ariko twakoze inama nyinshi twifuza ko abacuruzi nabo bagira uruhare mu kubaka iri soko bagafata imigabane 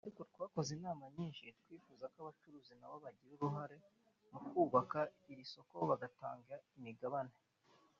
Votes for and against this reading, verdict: 1, 2, rejected